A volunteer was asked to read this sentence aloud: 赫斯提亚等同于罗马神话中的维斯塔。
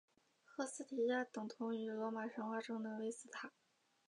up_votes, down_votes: 2, 1